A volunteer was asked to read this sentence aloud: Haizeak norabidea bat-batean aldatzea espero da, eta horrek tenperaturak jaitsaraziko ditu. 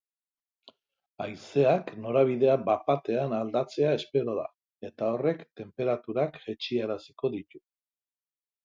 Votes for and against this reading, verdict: 1, 2, rejected